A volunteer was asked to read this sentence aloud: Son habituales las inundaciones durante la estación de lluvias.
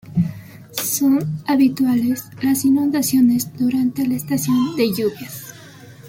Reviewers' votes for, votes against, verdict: 2, 1, accepted